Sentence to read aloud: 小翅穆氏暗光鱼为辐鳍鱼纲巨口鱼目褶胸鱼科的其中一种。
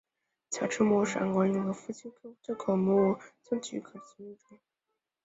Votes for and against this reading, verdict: 0, 2, rejected